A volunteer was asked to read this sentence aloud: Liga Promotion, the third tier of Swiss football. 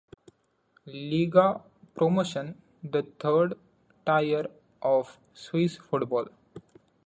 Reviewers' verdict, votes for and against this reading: accepted, 2, 1